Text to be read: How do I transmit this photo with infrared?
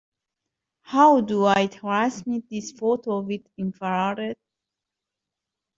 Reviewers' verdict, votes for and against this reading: rejected, 1, 2